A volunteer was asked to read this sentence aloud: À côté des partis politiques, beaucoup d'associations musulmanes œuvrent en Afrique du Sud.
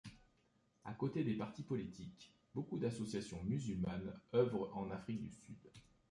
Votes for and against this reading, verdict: 2, 0, accepted